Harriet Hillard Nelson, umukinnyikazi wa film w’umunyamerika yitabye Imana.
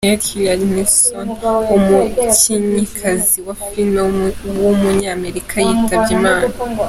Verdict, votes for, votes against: accepted, 3, 1